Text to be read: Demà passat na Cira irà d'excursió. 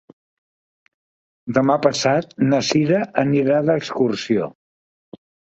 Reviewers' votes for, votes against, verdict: 0, 2, rejected